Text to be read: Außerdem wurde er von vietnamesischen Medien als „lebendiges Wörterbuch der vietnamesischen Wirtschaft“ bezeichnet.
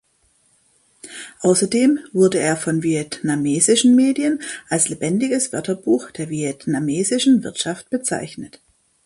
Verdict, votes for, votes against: accepted, 2, 0